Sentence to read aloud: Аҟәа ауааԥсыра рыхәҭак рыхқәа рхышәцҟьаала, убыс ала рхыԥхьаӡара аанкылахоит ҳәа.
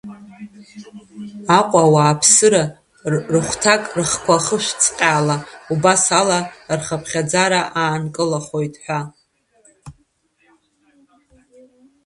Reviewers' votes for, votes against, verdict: 2, 1, accepted